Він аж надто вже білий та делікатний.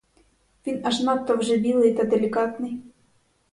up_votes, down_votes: 4, 0